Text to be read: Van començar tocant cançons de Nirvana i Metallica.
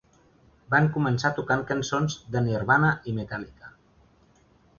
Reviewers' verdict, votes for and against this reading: accepted, 2, 0